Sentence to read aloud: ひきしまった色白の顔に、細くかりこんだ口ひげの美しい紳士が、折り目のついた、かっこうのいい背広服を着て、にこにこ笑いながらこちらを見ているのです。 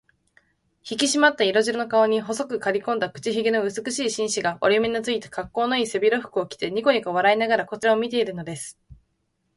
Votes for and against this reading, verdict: 2, 0, accepted